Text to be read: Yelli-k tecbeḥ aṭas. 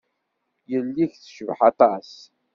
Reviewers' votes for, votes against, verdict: 2, 0, accepted